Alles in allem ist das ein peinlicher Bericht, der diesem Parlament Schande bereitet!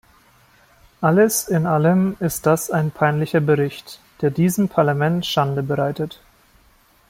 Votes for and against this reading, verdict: 2, 0, accepted